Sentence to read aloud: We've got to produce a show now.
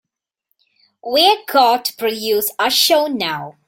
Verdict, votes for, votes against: rejected, 1, 2